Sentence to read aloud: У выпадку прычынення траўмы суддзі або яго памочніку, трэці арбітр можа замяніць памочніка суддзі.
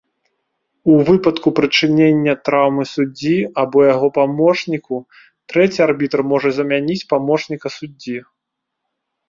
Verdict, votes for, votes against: accepted, 2, 0